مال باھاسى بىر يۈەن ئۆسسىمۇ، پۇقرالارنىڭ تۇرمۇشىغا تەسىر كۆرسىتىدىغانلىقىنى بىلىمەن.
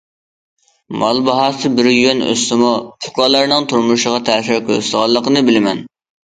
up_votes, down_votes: 1, 2